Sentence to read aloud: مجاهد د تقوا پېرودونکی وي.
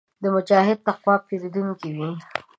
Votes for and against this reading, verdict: 0, 2, rejected